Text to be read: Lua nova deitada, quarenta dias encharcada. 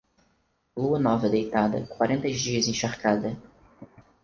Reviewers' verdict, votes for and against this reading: rejected, 2, 4